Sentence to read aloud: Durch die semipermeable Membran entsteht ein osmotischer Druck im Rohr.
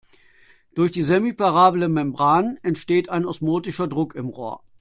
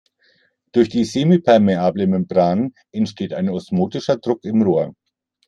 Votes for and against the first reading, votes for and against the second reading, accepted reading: 0, 2, 2, 0, second